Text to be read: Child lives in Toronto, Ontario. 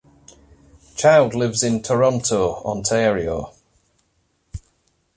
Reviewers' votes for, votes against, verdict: 2, 0, accepted